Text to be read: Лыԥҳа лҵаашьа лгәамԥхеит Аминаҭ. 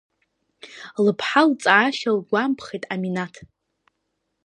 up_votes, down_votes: 2, 0